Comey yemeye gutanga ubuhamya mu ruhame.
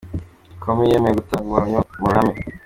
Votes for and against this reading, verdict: 2, 0, accepted